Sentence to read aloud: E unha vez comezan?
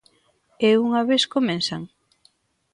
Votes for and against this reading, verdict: 2, 0, accepted